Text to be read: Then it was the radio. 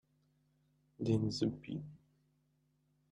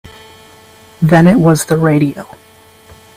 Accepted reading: second